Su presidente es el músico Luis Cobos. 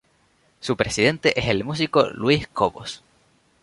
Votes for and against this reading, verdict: 2, 0, accepted